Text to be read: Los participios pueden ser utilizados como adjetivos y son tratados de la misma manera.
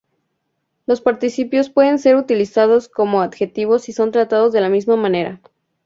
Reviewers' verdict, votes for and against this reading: accepted, 2, 0